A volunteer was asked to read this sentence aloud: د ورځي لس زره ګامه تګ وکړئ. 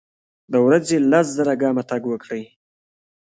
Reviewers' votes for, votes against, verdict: 2, 1, accepted